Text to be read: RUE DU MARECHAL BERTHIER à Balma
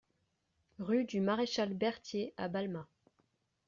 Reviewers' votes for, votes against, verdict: 2, 0, accepted